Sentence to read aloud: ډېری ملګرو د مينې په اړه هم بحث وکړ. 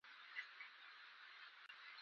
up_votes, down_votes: 0, 3